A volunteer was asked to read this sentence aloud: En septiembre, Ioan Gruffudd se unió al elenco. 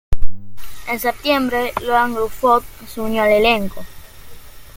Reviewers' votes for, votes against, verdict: 2, 1, accepted